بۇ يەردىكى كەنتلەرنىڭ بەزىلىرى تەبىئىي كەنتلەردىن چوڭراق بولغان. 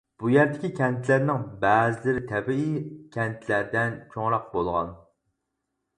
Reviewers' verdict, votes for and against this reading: rejected, 2, 4